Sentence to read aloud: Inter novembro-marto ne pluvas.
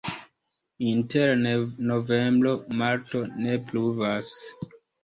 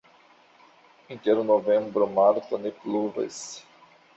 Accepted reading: first